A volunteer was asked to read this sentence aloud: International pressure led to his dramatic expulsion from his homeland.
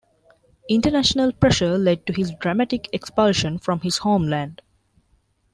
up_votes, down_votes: 2, 0